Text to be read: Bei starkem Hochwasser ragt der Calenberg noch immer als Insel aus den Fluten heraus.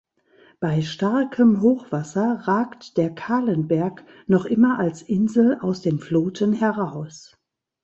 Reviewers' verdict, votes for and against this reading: rejected, 0, 2